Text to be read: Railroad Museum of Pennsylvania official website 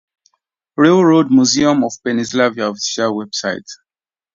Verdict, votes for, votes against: rejected, 0, 2